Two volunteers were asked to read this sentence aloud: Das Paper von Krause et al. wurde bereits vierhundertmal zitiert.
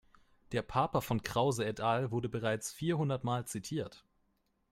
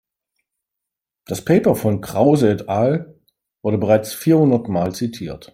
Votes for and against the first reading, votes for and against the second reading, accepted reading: 0, 2, 3, 0, second